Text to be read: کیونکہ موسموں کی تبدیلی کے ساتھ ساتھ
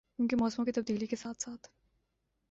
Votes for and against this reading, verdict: 3, 0, accepted